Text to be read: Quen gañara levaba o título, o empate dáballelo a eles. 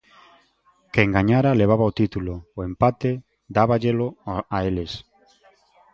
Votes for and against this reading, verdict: 1, 2, rejected